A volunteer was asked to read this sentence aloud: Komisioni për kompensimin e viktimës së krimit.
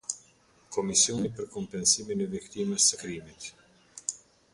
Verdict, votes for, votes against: accepted, 2, 0